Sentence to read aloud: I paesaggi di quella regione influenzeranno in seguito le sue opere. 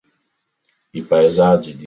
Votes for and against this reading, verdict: 0, 3, rejected